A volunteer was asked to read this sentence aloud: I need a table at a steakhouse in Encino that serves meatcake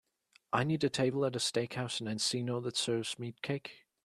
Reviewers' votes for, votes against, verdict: 2, 0, accepted